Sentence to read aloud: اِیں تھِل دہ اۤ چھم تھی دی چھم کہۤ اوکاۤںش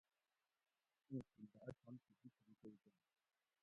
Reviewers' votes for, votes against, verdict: 0, 2, rejected